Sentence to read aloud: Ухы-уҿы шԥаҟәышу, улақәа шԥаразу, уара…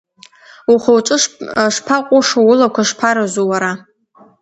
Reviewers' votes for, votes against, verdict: 2, 1, accepted